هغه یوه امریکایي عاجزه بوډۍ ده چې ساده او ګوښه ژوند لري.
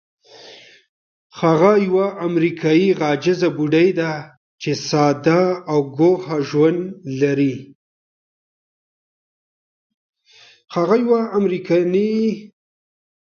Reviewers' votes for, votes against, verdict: 1, 2, rejected